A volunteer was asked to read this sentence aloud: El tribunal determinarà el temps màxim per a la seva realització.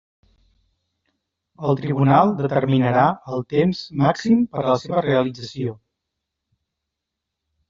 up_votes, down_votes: 0, 2